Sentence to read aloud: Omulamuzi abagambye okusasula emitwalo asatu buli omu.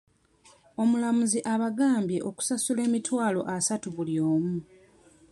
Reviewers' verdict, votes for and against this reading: accepted, 2, 0